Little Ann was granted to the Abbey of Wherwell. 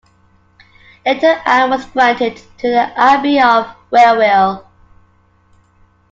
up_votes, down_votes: 2, 0